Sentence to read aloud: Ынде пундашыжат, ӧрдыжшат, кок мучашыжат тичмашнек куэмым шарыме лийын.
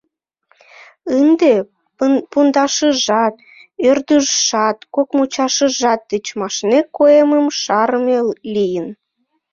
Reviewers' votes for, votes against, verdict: 1, 2, rejected